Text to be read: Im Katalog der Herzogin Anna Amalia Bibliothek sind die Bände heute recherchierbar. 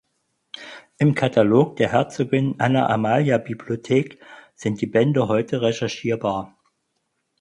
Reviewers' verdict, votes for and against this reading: accepted, 4, 0